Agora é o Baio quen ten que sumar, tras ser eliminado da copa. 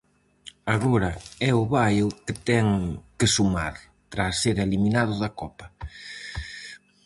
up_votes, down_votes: 2, 2